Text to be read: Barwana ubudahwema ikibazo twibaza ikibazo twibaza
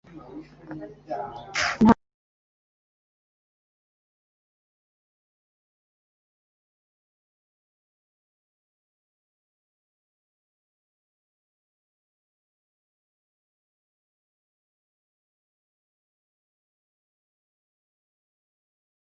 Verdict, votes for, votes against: rejected, 0, 2